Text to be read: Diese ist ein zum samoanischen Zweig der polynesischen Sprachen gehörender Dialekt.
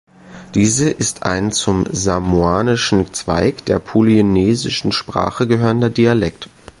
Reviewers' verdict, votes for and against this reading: accepted, 2, 1